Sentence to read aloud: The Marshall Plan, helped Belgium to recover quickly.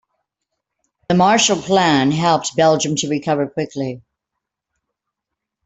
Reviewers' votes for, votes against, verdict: 2, 0, accepted